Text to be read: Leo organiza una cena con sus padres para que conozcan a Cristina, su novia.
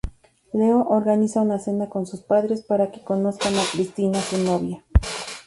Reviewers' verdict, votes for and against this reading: accepted, 4, 0